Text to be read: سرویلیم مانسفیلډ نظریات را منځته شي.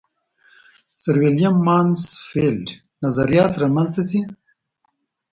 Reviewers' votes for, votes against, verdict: 2, 0, accepted